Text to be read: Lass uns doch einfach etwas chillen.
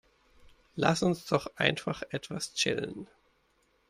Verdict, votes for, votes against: accepted, 3, 0